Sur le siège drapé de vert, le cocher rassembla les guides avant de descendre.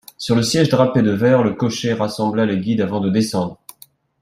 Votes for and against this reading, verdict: 2, 0, accepted